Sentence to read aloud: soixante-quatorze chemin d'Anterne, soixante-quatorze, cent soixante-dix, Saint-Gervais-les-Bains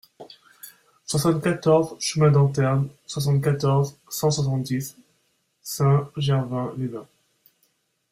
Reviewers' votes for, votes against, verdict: 0, 2, rejected